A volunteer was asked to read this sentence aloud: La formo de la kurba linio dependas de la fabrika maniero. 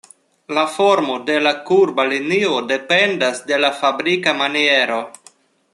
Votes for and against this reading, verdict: 2, 0, accepted